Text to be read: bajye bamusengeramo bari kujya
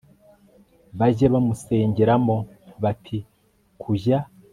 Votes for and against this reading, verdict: 0, 2, rejected